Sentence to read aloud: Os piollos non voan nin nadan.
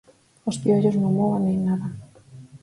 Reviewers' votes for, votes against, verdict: 2, 4, rejected